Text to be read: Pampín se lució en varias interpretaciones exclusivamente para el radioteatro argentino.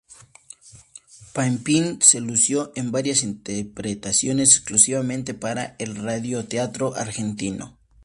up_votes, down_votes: 2, 0